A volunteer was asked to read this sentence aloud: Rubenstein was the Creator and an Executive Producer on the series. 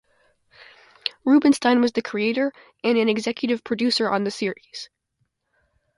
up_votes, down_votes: 2, 0